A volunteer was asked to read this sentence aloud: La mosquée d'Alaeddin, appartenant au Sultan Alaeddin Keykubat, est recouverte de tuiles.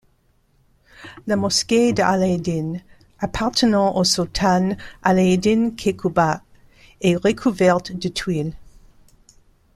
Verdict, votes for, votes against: rejected, 1, 2